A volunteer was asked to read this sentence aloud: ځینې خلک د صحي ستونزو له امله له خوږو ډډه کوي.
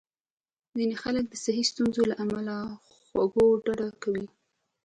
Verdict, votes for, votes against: accepted, 2, 0